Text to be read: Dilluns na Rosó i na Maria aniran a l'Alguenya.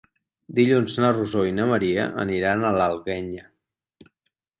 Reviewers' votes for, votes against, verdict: 6, 0, accepted